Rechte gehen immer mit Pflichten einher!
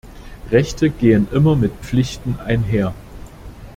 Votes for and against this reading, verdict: 2, 0, accepted